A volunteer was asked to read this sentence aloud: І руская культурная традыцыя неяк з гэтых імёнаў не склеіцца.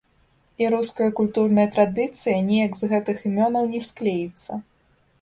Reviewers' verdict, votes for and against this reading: rejected, 1, 2